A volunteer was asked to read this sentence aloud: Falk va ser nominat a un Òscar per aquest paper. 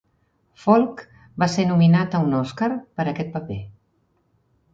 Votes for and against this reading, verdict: 4, 0, accepted